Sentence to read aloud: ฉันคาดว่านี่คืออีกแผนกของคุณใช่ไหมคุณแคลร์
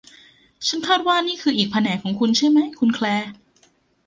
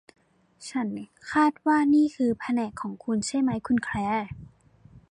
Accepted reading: first